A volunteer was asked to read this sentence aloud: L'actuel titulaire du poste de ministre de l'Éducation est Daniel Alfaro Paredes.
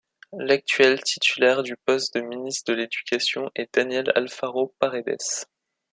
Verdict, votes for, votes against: accepted, 2, 0